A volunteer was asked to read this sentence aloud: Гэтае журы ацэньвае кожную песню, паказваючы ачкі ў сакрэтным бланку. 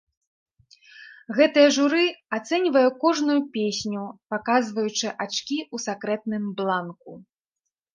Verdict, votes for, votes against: rejected, 0, 2